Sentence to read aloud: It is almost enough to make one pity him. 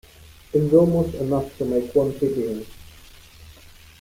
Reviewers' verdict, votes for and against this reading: rejected, 1, 2